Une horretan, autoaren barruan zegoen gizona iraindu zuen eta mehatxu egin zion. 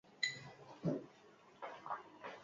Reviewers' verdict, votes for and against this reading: rejected, 0, 4